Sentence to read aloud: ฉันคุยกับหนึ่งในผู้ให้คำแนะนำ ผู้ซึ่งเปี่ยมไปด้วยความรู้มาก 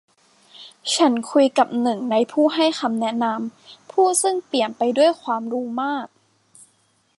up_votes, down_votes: 2, 0